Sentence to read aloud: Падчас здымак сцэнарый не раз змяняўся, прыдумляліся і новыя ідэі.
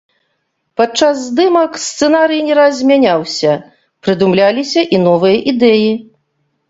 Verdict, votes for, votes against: rejected, 1, 2